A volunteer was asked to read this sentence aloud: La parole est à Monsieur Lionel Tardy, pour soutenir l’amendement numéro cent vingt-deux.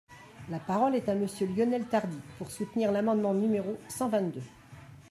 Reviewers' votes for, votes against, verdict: 2, 1, accepted